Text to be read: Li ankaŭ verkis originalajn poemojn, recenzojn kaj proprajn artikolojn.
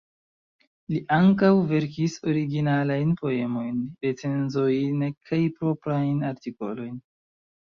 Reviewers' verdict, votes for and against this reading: accepted, 2, 1